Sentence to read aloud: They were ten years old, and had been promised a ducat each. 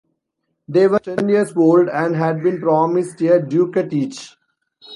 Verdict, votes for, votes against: rejected, 1, 2